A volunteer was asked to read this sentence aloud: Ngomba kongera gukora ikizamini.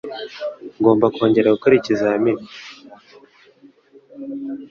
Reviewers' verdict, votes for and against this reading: accepted, 3, 0